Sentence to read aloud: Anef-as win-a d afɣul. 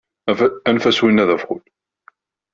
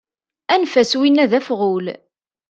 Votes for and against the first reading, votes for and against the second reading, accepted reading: 1, 2, 2, 0, second